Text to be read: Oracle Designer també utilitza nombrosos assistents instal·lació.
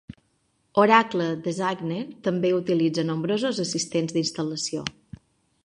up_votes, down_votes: 0, 2